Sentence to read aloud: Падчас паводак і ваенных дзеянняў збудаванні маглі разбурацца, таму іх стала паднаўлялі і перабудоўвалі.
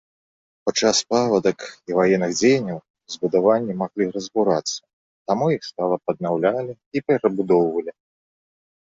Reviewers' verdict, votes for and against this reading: rejected, 1, 2